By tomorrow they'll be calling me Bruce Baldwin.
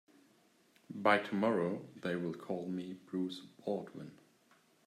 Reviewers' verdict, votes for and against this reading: rejected, 0, 2